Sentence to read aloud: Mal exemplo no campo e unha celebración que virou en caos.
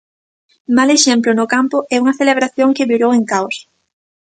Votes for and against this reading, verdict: 2, 0, accepted